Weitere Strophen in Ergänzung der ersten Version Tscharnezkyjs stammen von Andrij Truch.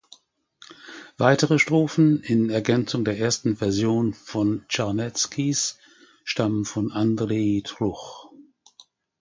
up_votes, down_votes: 0, 2